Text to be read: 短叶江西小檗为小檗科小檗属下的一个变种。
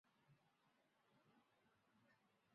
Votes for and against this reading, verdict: 0, 2, rejected